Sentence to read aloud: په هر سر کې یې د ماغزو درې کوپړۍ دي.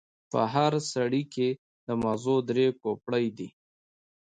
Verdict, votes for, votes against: accepted, 3, 1